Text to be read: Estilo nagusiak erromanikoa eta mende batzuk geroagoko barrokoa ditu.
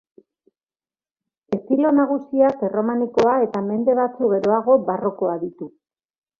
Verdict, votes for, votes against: rejected, 0, 2